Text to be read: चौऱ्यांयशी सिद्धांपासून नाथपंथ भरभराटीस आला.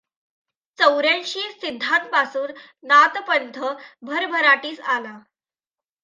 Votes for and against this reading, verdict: 2, 0, accepted